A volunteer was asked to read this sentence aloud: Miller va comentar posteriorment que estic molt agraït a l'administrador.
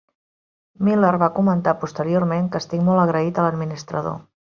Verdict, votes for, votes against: accepted, 3, 0